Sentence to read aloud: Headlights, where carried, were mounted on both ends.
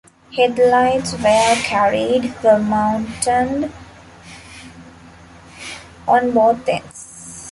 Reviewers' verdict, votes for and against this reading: accepted, 2, 1